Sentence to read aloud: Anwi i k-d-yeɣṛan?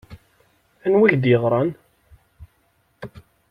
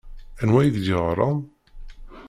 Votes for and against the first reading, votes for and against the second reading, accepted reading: 2, 0, 1, 2, first